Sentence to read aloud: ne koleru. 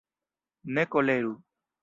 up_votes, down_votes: 1, 2